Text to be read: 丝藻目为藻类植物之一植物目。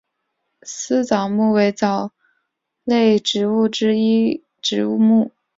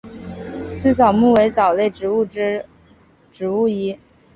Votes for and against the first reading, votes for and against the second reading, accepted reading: 3, 1, 1, 3, first